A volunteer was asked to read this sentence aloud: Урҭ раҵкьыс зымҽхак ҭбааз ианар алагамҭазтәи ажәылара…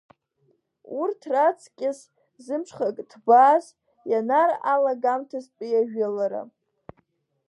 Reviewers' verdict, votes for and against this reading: rejected, 1, 2